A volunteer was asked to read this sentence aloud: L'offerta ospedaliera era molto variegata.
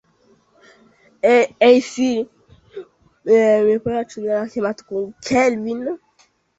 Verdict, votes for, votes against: rejected, 0, 2